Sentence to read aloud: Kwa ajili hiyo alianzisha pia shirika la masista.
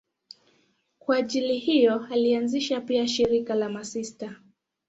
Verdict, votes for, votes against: accepted, 2, 0